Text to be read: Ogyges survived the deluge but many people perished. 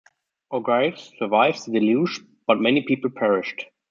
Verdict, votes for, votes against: rejected, 1, 2